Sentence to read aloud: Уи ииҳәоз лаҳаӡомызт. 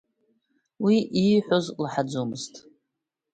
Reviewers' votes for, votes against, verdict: 2, 0, accepted